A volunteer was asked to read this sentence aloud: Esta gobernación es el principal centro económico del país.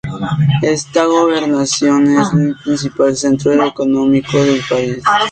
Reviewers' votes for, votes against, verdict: 0, 3, rejected